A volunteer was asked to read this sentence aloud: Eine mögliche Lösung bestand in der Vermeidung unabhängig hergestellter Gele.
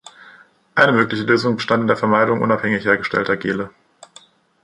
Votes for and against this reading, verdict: 2, 0, accepted